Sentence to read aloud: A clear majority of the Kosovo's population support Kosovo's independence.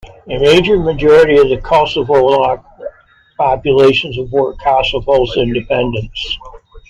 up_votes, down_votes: 0, 2